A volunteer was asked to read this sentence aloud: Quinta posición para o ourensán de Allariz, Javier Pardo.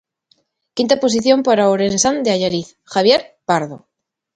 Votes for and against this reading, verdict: 2, 0, accepted